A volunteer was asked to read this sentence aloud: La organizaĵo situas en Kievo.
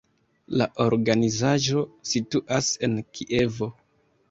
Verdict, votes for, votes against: accepted, 2, 0